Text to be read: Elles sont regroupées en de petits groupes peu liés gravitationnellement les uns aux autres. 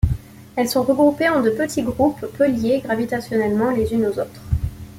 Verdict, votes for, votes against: rejected, 0, 2